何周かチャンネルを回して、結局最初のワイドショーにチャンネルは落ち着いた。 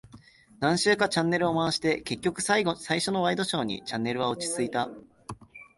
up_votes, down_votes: 1, 4